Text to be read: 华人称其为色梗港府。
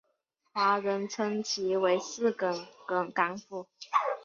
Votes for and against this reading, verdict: 1, 2, rejected